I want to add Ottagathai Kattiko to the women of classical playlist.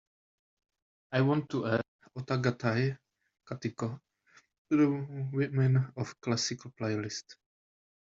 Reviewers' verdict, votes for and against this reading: rejected, 1, 2